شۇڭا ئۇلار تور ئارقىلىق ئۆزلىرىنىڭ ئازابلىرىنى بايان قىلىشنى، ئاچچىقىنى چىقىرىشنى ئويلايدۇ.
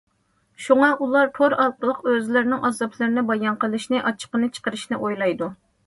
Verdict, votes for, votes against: accepted, 2, 0